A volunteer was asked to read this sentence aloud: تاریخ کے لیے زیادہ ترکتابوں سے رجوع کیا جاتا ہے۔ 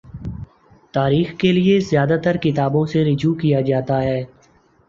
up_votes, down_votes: 2, 0